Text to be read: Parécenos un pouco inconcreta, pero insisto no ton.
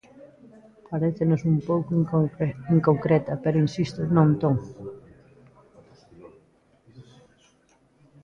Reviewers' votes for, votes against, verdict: 0, 2, rejected